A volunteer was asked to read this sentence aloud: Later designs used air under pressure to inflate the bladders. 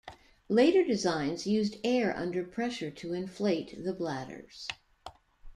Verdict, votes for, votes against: accepted, 2, 0